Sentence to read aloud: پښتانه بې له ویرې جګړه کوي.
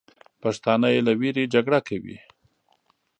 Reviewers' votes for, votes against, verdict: 0, 2, rejected